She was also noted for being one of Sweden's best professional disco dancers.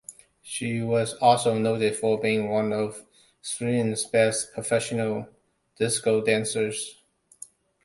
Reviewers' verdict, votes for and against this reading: accepted, 2, 0